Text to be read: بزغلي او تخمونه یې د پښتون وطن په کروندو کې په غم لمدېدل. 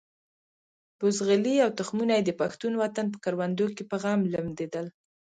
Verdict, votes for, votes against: rejected, 1, 2